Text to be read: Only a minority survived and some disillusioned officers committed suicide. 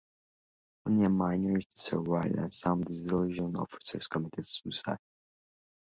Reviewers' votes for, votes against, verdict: 0, 2, rejected